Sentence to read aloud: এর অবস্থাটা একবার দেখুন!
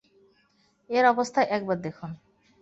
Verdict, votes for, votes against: rejected, 0, 2